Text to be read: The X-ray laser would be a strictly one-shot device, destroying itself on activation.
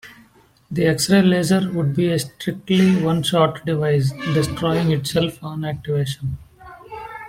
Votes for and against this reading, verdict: 1, 2, rejected